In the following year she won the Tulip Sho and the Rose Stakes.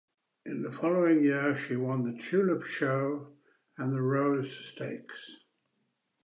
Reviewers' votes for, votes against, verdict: 2, 0, accepted